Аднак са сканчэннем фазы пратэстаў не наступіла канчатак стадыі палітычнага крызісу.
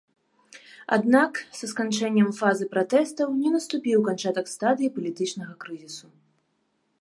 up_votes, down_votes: 0, 2